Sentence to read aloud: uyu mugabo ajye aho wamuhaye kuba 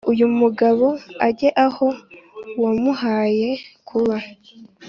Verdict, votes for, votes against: accepted, 2, 0